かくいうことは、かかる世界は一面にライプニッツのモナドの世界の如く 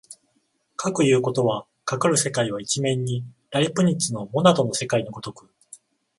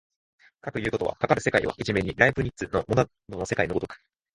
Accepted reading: first